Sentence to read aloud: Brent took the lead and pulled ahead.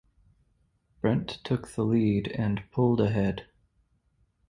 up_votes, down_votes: 2, 2